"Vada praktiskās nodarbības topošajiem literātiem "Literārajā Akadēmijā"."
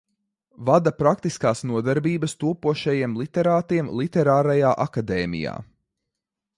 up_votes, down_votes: 2, 0